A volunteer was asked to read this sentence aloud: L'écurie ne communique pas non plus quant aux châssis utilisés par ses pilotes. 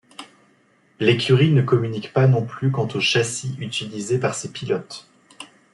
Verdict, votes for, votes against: accepted, 2, 0